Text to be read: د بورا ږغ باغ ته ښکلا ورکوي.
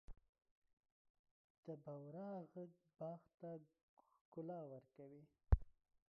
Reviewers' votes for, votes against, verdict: 0, 2, rejected